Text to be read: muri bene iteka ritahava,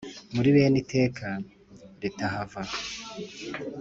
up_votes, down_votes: 2, 0